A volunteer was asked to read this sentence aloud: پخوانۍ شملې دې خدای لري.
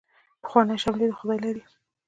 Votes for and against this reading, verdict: 2, 0, accepted